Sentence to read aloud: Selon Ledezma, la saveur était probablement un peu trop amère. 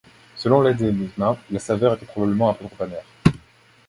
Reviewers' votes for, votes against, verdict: 2, 1, accepted